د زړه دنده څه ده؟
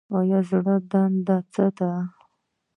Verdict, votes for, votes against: rejected, 0, 2